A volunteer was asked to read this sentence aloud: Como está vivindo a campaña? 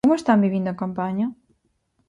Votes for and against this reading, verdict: 0, 4, rejected